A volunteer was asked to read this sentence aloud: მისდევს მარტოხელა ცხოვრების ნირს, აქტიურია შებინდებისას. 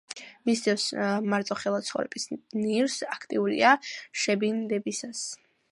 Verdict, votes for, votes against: rejected, 0, 2